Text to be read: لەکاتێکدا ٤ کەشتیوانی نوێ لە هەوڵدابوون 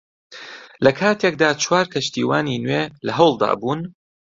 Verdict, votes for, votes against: rejected, 0, 2